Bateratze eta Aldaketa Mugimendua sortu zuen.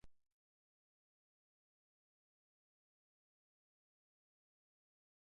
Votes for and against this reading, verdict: 0, 3, rejected